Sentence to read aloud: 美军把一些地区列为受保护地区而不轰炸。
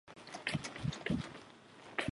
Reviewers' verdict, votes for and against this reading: rejected, 0, 2